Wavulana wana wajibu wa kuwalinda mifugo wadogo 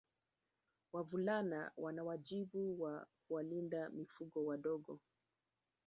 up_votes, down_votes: 1, 2